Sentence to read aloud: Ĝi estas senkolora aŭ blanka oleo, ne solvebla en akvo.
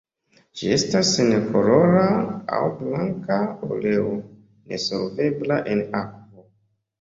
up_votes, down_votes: 1, 2